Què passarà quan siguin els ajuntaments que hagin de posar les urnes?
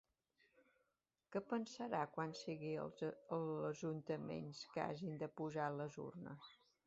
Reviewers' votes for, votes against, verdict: 0, 2, rejected